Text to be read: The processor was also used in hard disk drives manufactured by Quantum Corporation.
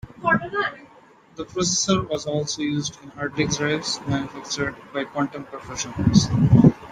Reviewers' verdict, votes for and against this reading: rejected, 0, 2